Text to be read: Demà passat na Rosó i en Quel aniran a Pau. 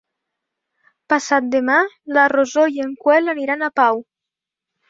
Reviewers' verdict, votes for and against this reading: rejected, 0, 2